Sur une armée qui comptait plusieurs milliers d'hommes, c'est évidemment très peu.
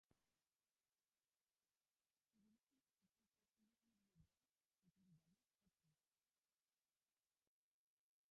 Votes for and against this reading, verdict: 0, 2, rejected